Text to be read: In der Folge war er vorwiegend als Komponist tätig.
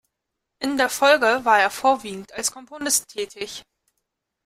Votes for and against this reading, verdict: 0, 2, rejected